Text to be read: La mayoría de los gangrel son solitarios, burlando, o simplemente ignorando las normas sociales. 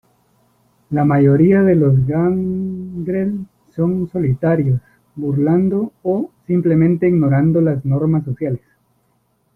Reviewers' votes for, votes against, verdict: 2, 1, accepted